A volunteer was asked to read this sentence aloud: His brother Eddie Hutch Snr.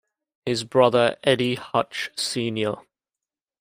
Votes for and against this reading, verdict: 1, 2, rejected